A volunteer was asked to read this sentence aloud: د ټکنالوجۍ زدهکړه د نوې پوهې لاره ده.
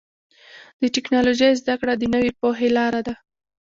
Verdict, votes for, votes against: accepted, 2, 1